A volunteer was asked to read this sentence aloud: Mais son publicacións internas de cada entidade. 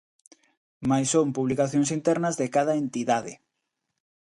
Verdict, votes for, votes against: accepted, 2, 0